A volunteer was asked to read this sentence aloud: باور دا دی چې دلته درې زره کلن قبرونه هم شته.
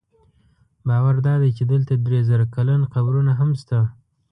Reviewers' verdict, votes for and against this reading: accepted, 2, 0